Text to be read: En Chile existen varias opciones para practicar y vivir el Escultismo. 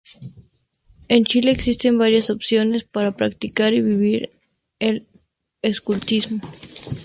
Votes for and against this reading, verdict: 2, 0, accepted